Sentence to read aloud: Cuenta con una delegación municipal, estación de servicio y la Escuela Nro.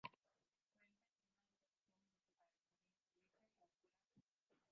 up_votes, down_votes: 0, 3